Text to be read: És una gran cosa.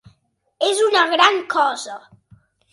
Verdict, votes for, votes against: accepted, 3, 0